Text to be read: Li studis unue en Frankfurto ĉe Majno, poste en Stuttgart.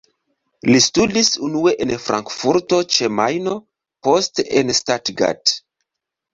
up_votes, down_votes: 2, 0